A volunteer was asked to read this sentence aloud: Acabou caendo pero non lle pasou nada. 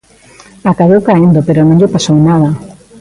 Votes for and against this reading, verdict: 1, 2, rejected